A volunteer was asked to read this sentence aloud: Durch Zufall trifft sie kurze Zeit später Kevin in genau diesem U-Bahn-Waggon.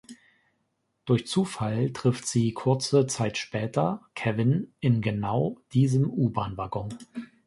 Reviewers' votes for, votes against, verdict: 2, 0, accepted